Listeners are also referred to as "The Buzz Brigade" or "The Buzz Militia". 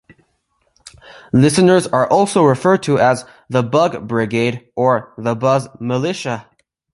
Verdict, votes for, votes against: rejected, 0, 2